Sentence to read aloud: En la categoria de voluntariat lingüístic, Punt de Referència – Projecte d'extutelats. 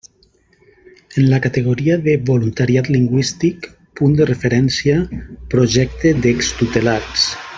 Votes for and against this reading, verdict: 2, 1, accepted